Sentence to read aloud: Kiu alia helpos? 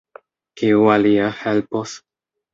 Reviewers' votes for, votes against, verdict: 2, 0, accepted